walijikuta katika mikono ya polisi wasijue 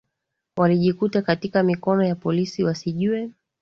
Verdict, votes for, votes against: accepted, 2, 0